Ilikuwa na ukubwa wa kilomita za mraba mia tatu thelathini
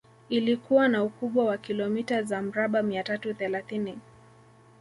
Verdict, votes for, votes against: rejected, 0, 2